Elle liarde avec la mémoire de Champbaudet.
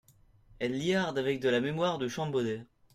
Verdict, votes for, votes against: rejected, 0, 2